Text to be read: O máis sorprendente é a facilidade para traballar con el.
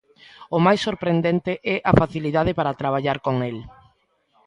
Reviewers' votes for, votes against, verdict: 2, 0, accepted